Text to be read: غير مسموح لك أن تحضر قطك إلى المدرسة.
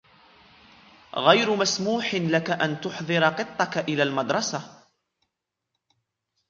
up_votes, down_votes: 2, 0